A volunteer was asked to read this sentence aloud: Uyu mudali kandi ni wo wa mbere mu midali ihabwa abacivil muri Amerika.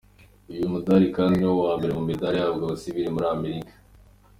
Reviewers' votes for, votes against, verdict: 2, 0, accepted